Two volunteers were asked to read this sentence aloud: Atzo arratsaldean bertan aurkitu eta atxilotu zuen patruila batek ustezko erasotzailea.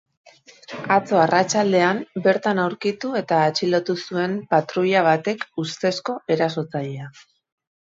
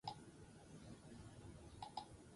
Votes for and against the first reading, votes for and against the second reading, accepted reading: 2, 0, 0, 6, first